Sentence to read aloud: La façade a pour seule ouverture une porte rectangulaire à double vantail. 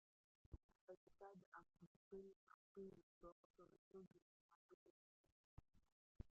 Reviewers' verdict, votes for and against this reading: rejected, 0, 2